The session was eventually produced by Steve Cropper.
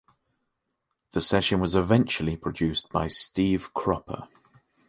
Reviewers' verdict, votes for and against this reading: accepted, 2, 0